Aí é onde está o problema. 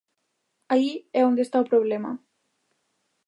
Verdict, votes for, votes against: accepted, 2, 0